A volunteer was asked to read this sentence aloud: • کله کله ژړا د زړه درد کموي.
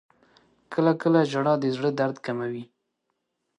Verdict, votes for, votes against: accepted, 2, 0